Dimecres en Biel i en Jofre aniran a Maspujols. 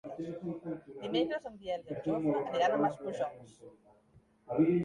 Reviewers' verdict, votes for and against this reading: rejected, 0, 2